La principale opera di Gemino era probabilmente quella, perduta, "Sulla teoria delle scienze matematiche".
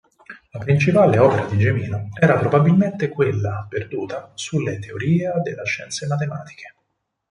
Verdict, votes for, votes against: rejected, 2, 4